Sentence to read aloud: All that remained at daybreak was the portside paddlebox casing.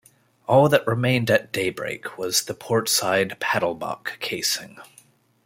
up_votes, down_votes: 1, 2